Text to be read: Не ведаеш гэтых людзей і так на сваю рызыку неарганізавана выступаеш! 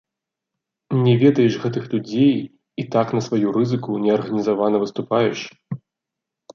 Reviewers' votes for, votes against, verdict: 2, 0, accepted